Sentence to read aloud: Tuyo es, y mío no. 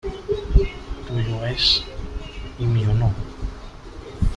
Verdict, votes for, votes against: rejected, 0, 2